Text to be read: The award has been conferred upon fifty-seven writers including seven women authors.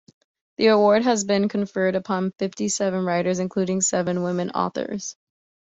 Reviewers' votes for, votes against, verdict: 2, 0, accepted